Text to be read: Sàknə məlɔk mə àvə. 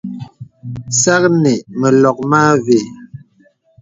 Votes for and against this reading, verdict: 2, 0, accepted